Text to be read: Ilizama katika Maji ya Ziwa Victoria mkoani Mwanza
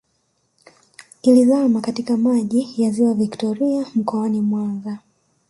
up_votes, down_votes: 1, 2